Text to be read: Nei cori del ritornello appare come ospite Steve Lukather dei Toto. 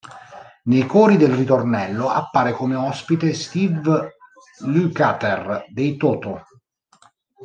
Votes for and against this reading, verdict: 0, 2, rejected